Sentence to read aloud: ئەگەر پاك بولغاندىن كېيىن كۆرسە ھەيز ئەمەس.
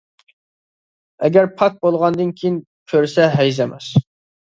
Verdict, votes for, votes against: accepted, 2, 0